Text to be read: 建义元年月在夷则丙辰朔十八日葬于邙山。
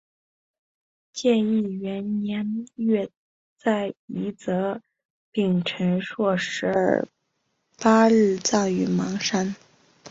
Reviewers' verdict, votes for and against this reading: rejected, 1, 2